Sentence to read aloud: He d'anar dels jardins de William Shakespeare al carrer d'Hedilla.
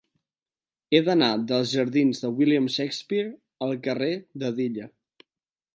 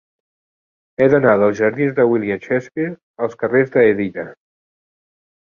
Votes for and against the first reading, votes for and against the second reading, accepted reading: 2, 0, 1, 2, first